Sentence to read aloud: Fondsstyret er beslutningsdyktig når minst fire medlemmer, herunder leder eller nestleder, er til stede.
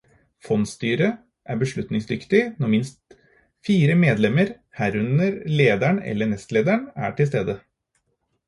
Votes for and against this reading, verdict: 2, 4, rejected